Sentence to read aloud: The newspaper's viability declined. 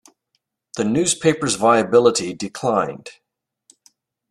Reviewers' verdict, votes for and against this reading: accepted, 2, 0